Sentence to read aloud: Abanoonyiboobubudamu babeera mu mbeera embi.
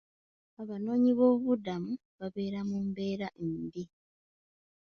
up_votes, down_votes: 2, 1